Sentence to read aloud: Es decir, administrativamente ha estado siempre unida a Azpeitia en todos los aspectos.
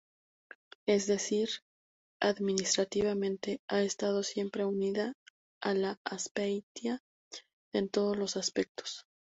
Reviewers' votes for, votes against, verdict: 2, 2, rejected